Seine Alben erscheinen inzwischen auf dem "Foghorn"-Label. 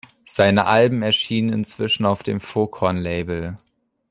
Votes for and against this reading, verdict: 0, 2, rejected